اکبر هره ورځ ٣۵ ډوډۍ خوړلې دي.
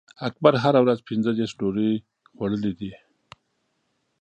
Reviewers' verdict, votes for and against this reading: rejected, 0, 2